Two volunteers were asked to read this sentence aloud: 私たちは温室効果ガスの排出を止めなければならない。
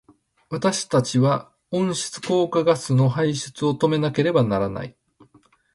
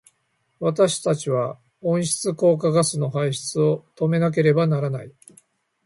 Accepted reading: first